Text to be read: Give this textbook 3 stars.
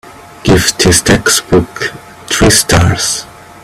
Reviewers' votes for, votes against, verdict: 0, 2, rejected